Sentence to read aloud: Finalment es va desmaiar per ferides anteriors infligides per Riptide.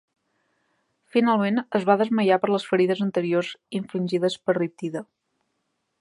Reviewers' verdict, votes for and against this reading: rejected, 1, 2